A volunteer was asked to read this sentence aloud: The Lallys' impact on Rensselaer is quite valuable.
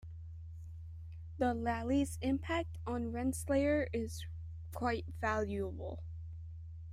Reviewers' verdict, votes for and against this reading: accepted, 2, 1